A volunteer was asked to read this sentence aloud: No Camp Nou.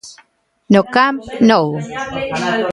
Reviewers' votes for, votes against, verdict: 1, 2, rejected